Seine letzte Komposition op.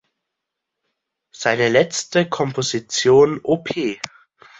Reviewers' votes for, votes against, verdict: 2, 1, accepted